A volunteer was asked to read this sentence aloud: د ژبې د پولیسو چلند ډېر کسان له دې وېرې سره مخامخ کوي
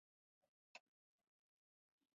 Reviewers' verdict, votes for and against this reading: rejected, 0, 3